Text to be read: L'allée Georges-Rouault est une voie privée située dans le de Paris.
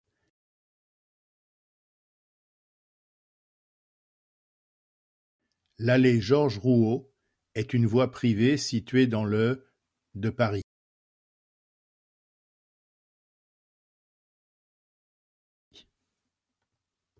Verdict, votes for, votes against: rejected, 0, 2